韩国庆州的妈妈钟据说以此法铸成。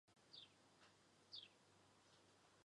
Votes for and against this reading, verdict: 0, 2, rejected